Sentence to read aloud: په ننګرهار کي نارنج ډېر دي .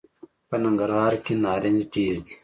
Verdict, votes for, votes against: accepted, 2, 0